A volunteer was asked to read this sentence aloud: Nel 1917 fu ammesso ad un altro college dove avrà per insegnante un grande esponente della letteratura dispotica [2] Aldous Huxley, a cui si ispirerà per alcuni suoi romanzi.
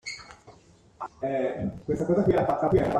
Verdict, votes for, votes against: rejected, 0, 2